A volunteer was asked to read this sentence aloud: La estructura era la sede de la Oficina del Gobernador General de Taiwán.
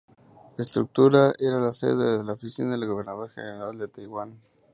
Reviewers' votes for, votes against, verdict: 2, 0, accepted